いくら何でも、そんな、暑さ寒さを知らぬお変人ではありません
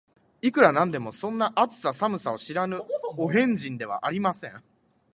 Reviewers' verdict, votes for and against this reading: accepted, 5, 1